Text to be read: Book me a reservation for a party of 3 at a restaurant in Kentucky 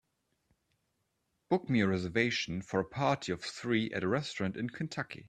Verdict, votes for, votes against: rejected, 0, 2